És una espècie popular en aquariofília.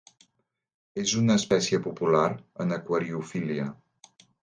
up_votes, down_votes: 4, 0